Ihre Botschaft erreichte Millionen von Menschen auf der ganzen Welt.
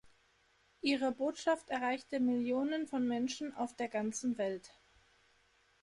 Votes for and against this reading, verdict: 2, 0, accepted